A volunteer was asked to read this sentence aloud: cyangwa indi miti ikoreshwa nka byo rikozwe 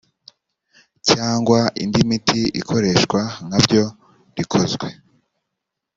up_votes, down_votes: 2, 0